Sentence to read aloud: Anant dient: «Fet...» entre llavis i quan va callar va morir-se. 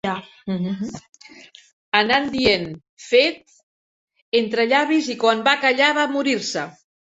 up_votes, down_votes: 0, 2